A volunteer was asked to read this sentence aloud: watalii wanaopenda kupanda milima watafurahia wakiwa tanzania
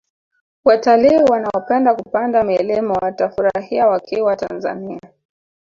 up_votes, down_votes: 0, 2